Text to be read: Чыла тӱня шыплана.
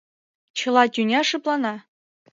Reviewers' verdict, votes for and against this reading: accepted, 2, 0